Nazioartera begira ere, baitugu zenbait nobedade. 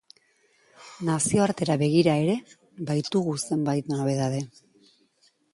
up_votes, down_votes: 2, 0